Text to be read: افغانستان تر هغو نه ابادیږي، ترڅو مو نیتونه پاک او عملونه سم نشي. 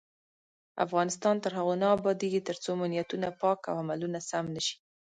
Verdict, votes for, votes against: accepted, 2, 1